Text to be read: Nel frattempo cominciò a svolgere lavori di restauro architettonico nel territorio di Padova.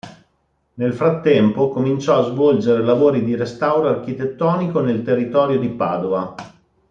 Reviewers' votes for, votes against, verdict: 2, 1, accepted